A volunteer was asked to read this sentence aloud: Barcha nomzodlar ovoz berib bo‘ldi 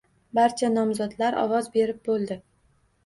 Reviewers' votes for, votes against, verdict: 2, 0, accepted